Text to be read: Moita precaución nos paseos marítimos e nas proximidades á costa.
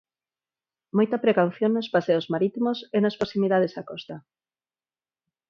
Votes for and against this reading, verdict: 4, 0, accepted